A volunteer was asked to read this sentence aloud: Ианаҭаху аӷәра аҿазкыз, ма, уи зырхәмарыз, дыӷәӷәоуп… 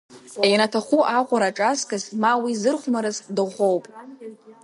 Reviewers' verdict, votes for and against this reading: rejected, 1, 2